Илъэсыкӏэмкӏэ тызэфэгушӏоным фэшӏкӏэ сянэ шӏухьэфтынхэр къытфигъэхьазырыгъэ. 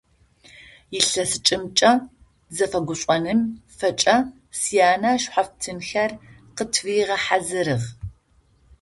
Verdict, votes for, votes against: rejected, 0, 2